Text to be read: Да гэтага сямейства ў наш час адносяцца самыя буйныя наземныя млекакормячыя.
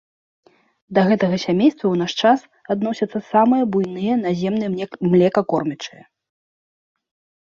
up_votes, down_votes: 0, 2